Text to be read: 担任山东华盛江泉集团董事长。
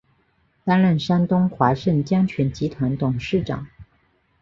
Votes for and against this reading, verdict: 2, 0, accepted